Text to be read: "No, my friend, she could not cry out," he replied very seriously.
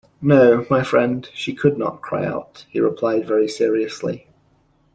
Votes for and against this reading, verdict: 2, 0, accepted